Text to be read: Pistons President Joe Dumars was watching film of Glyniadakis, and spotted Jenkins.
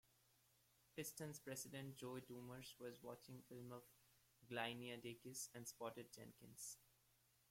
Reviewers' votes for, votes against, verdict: 1, 2, rejected